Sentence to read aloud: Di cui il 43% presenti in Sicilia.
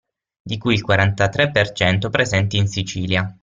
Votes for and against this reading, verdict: 0, 2, rejected